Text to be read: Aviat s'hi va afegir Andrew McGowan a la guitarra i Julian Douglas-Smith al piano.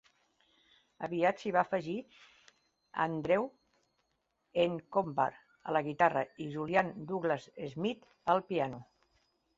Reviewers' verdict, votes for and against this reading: rejected, 1, 2